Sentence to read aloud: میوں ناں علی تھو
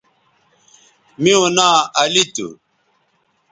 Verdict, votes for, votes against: accepted, 2, 0